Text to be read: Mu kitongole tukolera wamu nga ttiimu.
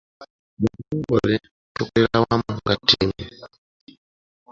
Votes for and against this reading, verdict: 2, 0, accepted